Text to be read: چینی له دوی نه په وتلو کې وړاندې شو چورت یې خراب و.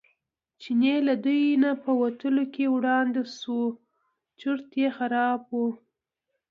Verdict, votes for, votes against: accepted, 2, 0